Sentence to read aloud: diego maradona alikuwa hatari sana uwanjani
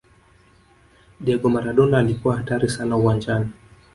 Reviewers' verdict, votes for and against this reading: rejected, 1, 2